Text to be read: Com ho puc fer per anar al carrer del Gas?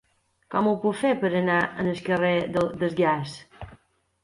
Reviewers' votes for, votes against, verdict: 0, 2, rejected